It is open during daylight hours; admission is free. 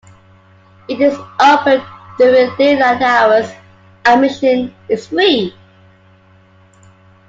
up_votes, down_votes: 2, 0